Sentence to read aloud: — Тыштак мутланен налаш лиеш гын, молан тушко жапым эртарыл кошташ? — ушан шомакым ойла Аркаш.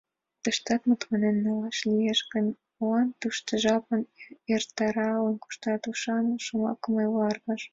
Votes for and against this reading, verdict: 2, 1, accepted